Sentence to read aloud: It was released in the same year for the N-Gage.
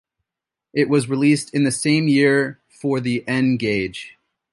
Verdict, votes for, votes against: accepted, 2, 0